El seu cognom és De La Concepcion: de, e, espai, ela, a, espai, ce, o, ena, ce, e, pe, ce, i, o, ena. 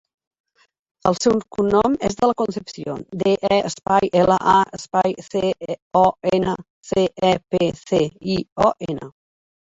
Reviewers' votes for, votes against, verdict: 0, 2, rejected